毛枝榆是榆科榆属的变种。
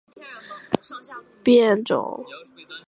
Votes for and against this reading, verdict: 0, 2, rejected